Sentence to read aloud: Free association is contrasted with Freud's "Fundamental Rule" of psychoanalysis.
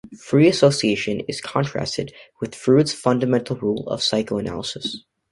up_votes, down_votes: 1, 2